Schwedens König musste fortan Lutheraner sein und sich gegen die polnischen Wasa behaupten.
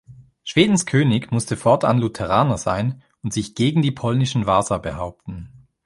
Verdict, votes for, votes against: accepted, 3, 0